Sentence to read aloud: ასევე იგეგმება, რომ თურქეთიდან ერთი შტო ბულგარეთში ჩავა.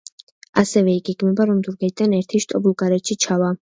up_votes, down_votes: 2, 0